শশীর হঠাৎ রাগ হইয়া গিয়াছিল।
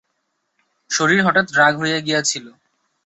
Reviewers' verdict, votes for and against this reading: rejected, 0, 2